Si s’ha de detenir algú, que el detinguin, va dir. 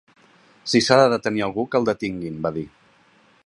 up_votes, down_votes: 3, 0